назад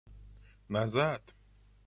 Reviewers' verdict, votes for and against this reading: accepted, 2, 0